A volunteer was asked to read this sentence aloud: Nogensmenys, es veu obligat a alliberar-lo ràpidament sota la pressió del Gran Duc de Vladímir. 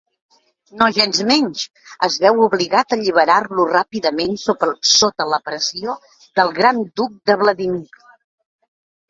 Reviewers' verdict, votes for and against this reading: rejected, 1, 2